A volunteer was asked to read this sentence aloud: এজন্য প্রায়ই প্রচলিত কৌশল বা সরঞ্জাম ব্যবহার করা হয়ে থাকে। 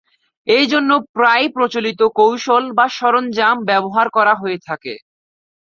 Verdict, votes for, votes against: accepted, 4, 0